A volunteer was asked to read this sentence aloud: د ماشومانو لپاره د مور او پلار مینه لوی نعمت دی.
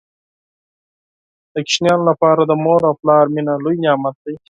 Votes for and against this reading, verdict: 0, 4, rejected